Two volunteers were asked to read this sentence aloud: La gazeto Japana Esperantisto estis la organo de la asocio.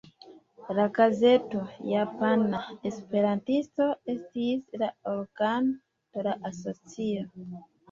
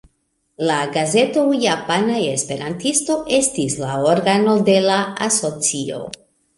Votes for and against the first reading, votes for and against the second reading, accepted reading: 2, 3, 2, 0, second